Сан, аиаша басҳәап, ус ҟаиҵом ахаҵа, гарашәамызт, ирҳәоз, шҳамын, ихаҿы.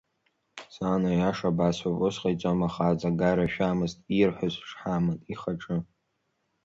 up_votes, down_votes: 2, 1